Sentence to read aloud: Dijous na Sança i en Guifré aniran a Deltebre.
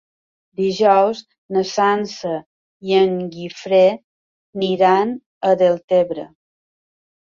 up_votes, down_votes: 3, 1